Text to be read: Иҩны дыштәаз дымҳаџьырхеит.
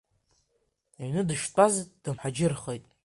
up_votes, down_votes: 2, 0